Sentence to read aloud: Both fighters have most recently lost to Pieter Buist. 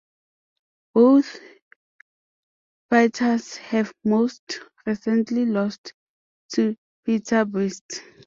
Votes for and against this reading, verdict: 2, 0, accepted